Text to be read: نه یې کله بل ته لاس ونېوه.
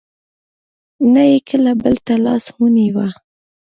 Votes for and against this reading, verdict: 0, 2, rejected